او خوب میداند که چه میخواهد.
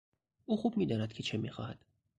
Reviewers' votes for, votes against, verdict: 2, 0, accepted